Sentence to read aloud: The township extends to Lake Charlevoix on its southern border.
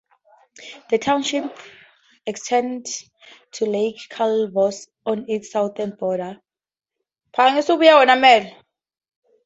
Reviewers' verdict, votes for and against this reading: rejected, 0, 4